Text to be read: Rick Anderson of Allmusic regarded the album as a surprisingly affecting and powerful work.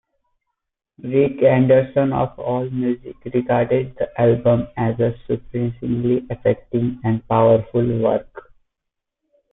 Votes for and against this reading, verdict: 0, 2, rejected